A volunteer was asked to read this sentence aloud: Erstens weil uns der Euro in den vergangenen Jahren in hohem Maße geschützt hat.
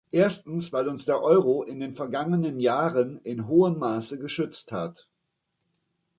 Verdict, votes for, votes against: accepted, 2, 0